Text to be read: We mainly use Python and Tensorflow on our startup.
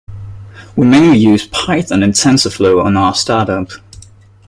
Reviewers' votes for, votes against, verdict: 2, 0, accepted